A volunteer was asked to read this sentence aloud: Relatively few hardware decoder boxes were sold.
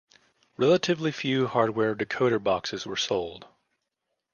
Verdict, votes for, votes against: rejected, 1, 2